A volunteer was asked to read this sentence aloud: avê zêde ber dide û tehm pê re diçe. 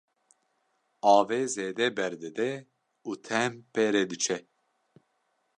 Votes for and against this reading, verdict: 2, 0, accepted